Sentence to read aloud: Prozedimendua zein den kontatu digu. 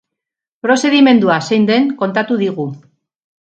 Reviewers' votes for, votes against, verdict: 0, 2, rejected